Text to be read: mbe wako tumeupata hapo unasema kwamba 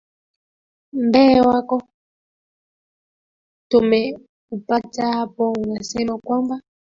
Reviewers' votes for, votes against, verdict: 0, 2, rejected